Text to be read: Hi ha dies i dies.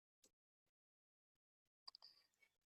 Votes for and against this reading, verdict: 0, 2, rejected